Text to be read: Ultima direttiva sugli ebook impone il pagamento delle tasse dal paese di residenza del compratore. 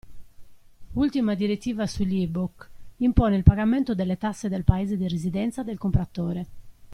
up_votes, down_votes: 2, 0